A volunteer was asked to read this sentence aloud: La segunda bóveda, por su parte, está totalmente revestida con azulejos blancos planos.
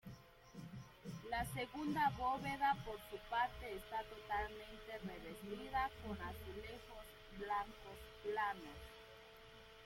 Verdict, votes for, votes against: rejected, 0, 2